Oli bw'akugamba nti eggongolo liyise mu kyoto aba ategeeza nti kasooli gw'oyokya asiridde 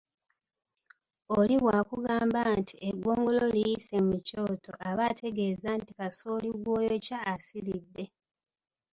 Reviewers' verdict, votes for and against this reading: rejected, 0, 2